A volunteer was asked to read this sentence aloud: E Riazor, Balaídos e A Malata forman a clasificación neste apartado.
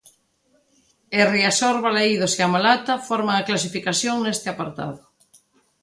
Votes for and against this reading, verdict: 2, 0, accepted